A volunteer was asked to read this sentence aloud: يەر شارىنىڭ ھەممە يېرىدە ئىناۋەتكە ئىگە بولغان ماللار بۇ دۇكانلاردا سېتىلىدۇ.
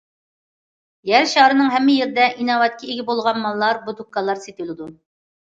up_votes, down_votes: 2, 1